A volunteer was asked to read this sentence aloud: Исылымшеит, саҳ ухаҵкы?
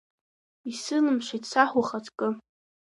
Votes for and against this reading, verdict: 1, 2, rejected